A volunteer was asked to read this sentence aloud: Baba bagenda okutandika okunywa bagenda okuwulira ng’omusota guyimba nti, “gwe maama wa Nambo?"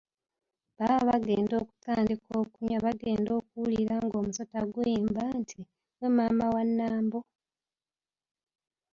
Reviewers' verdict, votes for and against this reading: rejected, 0, 2